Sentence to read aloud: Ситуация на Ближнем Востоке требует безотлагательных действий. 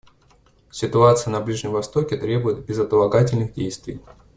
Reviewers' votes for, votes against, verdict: 1, 2, rejected